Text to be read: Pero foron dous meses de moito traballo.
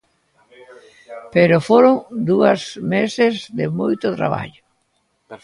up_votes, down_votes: 0, 2